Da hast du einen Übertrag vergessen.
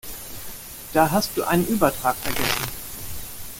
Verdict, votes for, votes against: accepted, 2, 0